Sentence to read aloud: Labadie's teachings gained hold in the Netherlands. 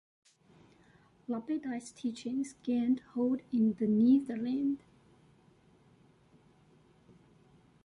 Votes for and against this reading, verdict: 1, 2, rejected